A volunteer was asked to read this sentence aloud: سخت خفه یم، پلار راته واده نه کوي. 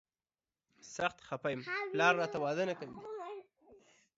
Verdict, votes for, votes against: accepted, 2, 0